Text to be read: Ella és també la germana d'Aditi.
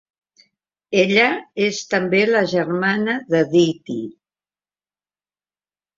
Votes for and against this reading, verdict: 3, 0, accepted